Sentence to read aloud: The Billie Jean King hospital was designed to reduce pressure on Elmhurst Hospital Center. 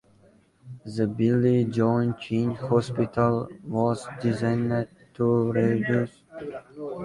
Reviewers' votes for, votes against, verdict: 0, 2, rejected